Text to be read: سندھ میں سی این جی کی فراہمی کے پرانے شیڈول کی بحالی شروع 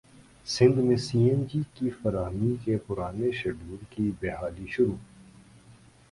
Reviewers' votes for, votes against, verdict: 1, 2, rejected